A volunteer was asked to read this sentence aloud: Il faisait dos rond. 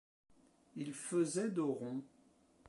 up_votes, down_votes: 2, 1